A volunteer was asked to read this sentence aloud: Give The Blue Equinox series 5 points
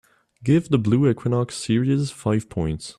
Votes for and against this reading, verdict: 0, 2, rejected